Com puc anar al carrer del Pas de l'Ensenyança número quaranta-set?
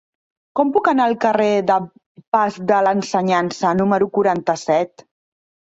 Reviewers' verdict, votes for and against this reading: rejected, 0, 2